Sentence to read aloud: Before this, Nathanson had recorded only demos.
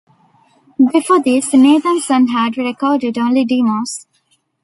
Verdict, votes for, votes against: rejected, 0, 2